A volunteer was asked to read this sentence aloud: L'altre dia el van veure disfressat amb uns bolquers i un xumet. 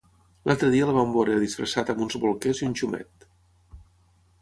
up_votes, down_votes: 3, 3